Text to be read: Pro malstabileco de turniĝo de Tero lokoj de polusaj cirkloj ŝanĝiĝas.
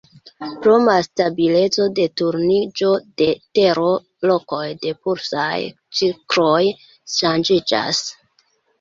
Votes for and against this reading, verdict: 0, 2, rejected